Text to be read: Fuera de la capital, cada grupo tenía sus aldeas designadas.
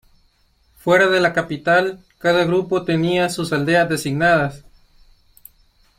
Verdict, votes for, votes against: accepted, 2, 0